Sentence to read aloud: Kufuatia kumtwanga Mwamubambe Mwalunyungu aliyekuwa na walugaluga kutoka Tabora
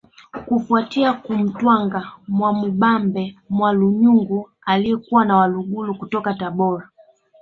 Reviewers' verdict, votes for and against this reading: rejected, 0, 2